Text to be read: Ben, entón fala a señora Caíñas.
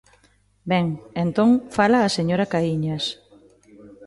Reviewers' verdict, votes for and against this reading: accepted, 2, 0